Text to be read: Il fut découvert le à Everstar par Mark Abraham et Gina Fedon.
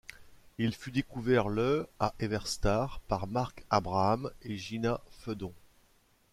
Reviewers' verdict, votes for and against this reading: accepted, 2, 0